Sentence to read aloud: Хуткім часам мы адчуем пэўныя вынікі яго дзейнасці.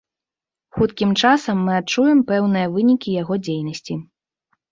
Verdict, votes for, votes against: accepted, 2, 0